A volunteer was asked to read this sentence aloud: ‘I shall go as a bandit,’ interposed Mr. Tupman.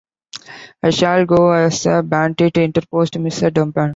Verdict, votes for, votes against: rejected, 0, 2